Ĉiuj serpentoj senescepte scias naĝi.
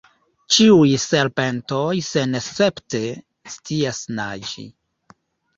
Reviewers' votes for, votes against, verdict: 2, 0, accepted